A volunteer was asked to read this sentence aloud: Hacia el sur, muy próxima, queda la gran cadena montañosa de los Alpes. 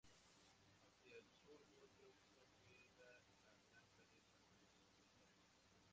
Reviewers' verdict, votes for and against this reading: rejected, 0, 2